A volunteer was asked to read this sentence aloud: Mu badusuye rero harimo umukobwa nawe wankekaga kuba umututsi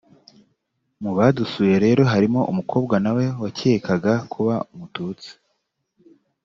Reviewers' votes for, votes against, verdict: 1, 2, rejected